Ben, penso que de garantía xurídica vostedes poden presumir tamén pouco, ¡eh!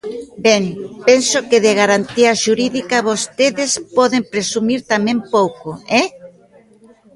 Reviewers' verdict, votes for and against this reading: accepted, 2, 1